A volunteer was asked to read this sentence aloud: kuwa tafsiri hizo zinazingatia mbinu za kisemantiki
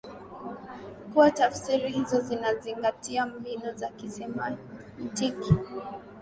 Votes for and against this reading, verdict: 2, 0, accepted